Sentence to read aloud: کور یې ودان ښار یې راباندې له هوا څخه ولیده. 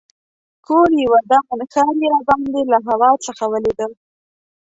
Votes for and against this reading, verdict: 0, 2, rejected